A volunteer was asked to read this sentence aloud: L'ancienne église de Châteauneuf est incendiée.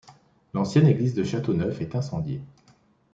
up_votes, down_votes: 2, 0